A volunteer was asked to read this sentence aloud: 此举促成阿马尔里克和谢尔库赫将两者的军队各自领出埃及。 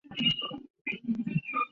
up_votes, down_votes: 0, 4